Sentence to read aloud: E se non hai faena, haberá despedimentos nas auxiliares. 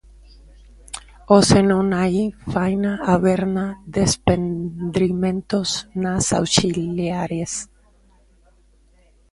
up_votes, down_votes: 0, 2